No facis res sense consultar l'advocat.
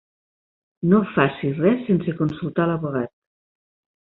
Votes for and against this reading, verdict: 0, 2, rejected